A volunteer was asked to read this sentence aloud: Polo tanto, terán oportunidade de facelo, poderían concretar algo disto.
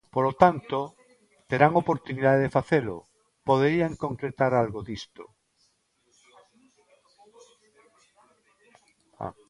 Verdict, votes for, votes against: rejected, 1, 2